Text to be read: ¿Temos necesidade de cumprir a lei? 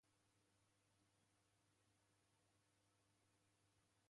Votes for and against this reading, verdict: 0, 2, rejected